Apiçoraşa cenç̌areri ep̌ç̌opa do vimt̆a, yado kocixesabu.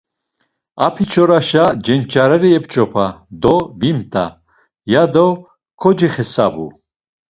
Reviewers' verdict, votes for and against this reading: accepted, 2, 0